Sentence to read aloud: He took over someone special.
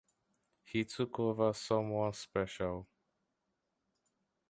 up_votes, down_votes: 2, 0